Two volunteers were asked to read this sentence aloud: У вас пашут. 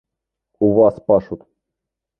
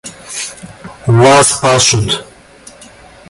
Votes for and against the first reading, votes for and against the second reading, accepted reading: 2, 1, 1, 2, first